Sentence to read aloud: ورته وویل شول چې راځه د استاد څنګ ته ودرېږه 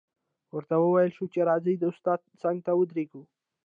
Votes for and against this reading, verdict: 0, 2, rejected